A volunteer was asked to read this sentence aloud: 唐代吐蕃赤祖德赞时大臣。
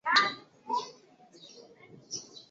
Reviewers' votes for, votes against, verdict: 0, 3, rejected